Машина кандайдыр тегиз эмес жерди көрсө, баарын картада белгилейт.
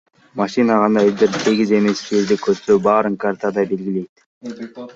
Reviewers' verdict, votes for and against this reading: rejected, 1, 2